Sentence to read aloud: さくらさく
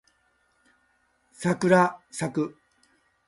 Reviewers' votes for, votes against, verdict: 1, 2, rejected